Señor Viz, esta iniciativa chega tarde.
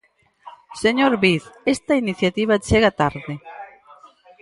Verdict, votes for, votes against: rejected, 2, 4